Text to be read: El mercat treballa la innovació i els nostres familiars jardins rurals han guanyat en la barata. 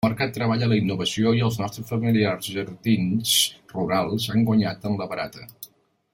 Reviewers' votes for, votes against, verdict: 0, 2, rejected